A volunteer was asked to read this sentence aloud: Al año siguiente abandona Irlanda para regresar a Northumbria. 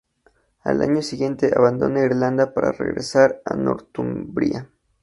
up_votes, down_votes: 2, 0